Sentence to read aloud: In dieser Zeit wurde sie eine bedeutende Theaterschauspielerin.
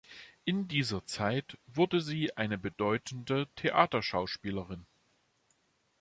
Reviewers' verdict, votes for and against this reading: accepted, 2, 0